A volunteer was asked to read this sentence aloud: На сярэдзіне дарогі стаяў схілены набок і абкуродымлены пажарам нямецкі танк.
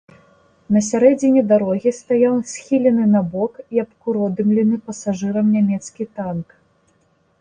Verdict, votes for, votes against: rejected, 0, 3